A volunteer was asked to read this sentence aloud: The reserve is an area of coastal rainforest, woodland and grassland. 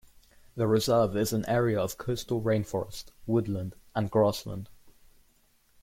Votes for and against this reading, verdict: 2, 0, accepted